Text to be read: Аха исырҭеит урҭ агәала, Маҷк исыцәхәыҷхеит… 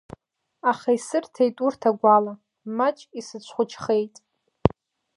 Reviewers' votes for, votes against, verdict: 2, 1, accepted